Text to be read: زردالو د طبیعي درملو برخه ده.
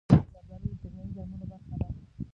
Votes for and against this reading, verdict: 0, 2, rejected